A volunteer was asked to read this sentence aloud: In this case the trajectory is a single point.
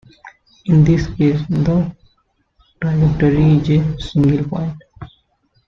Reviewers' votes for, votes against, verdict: 0, 2, rejected